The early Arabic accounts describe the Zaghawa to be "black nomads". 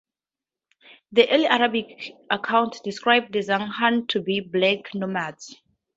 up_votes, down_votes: 2, 0